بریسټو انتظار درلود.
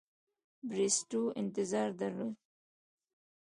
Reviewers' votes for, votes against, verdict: 2, 0, accepted